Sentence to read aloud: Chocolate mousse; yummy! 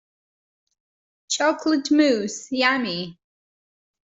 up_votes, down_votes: 2, 0